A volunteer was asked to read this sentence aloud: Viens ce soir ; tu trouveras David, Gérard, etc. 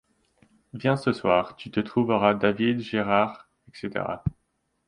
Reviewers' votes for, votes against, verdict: 1, 2, rejected